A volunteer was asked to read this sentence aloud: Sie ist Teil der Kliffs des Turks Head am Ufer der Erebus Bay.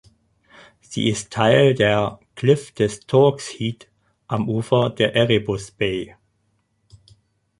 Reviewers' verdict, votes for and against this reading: rejected, 0, 4